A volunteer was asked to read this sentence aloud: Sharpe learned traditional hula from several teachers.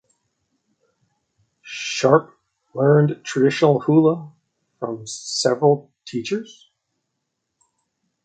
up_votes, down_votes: 2, 0